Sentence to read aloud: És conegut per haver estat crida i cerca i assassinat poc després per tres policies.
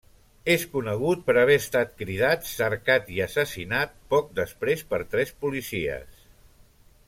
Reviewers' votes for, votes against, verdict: 0, 2, rejected